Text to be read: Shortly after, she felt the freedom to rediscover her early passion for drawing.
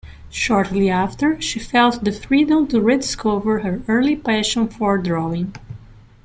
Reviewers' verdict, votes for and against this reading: rejected, 1, 2